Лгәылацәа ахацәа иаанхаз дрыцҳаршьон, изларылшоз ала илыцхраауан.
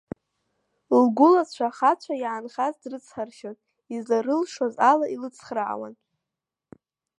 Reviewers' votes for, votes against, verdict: 1, 2, rejected